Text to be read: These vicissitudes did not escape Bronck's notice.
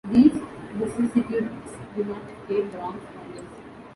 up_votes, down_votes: 0, 2